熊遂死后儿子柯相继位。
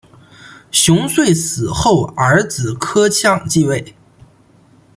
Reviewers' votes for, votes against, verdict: 2, 1, accepted